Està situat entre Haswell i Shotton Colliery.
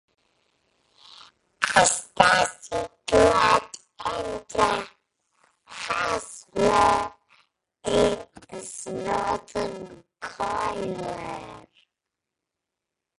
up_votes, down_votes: 0, 2